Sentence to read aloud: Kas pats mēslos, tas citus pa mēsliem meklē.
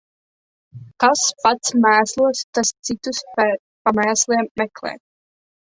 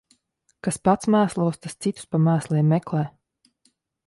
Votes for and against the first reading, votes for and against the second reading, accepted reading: 1, 2, 2, 0, second